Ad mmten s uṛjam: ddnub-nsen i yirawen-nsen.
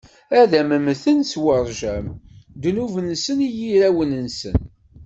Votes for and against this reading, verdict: 1, 2, rejected